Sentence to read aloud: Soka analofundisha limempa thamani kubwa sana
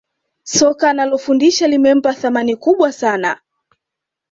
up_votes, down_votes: 2, 0